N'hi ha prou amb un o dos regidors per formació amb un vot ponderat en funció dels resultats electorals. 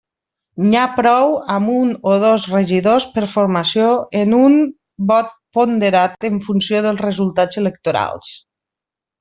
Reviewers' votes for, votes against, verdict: 0, 2, rejected